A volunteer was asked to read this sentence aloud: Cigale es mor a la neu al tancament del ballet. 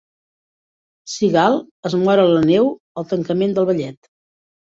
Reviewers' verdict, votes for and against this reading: accepted, 2, 1